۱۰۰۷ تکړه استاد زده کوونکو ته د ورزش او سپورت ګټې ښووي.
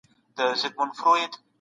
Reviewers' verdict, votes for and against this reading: rejected, 0, 2